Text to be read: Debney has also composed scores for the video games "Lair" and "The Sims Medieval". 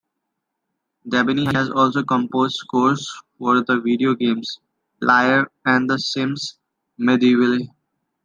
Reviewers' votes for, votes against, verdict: 1, 2, rejected